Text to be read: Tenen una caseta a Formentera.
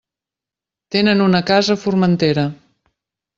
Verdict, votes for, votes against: rejected, 0, 2